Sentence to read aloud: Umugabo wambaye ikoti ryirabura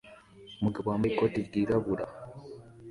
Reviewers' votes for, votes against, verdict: 2, 0, accepted